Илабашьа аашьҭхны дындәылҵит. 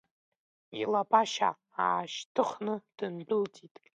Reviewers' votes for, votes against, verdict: 2, 1, accepted